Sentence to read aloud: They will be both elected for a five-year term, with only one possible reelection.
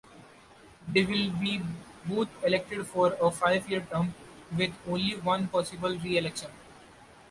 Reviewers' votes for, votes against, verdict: 2, 0, accepted